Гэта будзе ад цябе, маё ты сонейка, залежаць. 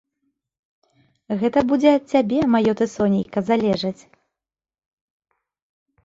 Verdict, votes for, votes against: accepted, 2, 0